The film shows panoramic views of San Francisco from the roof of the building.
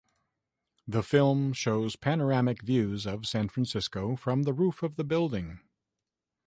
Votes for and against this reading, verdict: 2, 0, accepted